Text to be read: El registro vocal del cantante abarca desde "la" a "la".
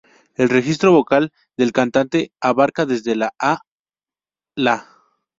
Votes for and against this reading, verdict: 0, 2, rejected